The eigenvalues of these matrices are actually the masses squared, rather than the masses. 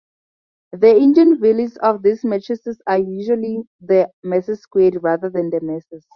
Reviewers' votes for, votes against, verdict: 0, 2, rejected